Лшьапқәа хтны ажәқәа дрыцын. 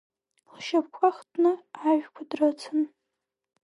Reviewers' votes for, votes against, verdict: 0, 2, rejected